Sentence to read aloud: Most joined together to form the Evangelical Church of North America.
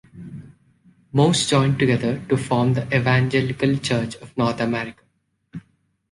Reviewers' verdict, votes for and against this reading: accepted, 2, 0